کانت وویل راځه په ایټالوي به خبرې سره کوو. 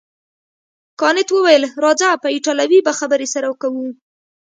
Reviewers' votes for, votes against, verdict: 2, 0, accepted